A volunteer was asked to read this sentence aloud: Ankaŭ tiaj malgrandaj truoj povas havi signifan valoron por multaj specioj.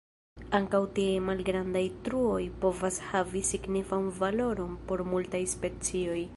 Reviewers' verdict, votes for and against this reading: accepted, 2, 0